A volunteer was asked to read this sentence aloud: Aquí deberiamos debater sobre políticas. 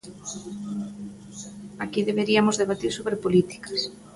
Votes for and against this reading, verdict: 1, 2, rejected